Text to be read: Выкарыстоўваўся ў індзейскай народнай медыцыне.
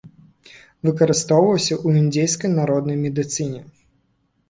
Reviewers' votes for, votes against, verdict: 3, 0, accepted